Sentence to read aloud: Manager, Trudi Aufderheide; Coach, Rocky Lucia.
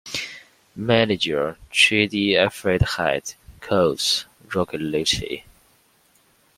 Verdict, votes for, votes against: accepted, 2, 1